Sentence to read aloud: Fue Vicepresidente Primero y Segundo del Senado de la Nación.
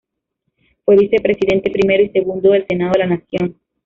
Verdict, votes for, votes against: accepted, 2, 0